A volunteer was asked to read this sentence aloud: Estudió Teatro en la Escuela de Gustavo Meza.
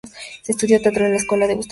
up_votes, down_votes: 0, 2